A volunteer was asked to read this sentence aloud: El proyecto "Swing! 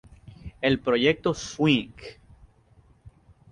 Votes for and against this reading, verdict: 2, 0, accepted